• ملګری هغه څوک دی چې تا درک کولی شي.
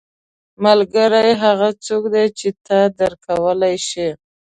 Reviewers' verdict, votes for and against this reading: accepted, 2, 0